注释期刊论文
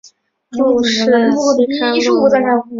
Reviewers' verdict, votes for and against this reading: rejected, 0, 2